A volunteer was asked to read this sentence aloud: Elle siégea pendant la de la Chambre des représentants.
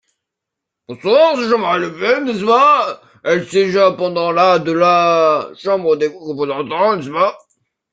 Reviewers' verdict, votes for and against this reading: rejected, 0, 2